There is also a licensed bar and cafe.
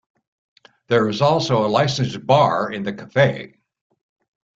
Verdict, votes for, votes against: rejected, 0, 2